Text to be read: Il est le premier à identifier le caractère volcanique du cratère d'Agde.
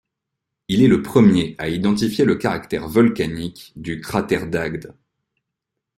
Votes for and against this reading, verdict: 2, 0, accepted